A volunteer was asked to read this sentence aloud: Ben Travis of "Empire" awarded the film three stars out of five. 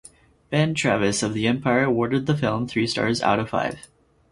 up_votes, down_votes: 2, 4